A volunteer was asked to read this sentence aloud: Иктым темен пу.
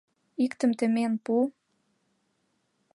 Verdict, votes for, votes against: accepted, 2, 0